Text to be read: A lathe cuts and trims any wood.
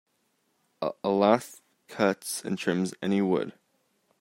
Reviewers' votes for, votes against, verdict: 2, 1, accepted